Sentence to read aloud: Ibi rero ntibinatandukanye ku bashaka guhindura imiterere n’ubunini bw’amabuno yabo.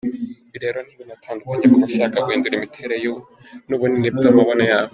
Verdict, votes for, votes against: accepted, 2, 1